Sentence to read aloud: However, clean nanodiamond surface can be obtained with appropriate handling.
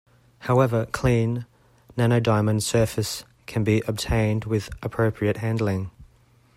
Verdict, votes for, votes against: accepted, 2, 0